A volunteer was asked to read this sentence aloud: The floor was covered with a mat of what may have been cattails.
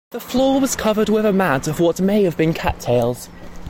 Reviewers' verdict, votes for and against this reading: accepted, 2, 0